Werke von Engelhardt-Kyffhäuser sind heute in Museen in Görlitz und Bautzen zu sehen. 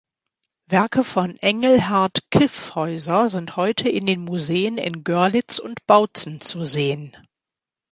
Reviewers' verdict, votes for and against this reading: rejected, 1, 3